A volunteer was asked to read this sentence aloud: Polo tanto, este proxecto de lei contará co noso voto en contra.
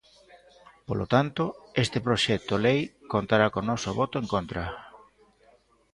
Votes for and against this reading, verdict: 0, 2, rejected